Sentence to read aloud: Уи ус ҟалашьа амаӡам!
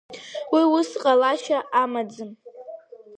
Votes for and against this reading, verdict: 2, 0, accepted